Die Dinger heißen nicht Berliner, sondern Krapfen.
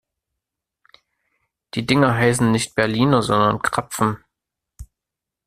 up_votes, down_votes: 2, 0